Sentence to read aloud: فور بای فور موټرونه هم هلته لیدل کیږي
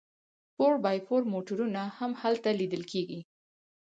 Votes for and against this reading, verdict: 2, 4, rejected